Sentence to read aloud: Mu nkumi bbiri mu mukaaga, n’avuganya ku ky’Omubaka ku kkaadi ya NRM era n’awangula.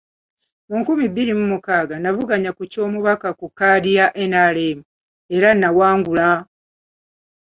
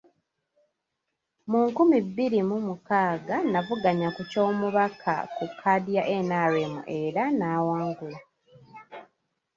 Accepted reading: first